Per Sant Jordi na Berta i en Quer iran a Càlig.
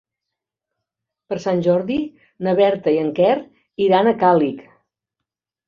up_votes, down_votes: 1, 2